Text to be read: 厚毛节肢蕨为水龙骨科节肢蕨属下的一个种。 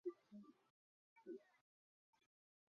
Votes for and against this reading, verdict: 0, 2, rejected